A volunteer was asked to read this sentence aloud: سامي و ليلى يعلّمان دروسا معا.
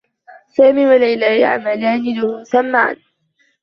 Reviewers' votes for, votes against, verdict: 0, 2, rejected